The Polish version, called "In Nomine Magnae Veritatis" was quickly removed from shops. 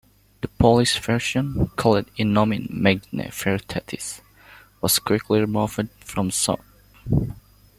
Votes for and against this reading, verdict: 1, 2, rejected